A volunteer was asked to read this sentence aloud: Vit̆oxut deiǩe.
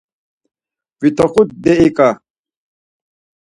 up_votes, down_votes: 4, 0